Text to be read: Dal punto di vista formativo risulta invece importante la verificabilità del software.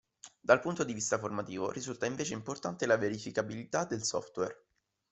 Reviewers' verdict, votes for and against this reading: accepted, 2, 0